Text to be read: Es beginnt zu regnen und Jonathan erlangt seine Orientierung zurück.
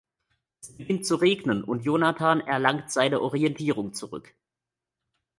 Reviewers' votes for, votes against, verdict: 1, 3, rejected